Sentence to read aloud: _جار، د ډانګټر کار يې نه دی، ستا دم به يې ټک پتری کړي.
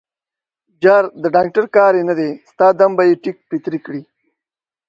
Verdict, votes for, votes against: accepted, 2, 1